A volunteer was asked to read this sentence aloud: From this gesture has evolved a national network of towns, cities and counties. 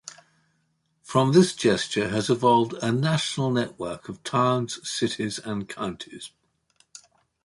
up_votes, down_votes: 2, 0